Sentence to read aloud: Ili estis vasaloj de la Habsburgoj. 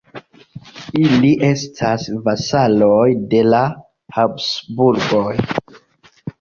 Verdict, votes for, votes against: rejected, 1, 2